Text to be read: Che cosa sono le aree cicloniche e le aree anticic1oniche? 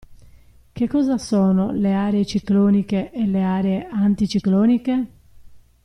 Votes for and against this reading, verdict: 0, 2, rejected